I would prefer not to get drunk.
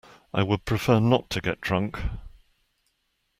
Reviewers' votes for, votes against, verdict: 2, 0, accepted